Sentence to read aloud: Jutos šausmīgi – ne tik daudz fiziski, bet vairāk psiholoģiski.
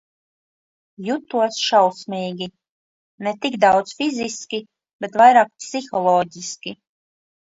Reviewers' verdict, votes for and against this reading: accepted, 2, 0